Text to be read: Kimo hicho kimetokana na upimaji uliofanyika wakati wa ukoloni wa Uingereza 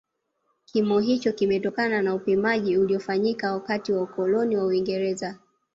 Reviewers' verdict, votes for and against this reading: rejected, 1, 2